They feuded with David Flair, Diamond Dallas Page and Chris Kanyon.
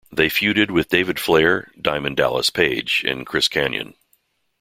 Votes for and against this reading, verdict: 2, 0, accepted